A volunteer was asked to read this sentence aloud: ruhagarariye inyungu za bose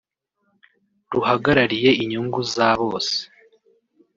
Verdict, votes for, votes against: accepted, 2, 0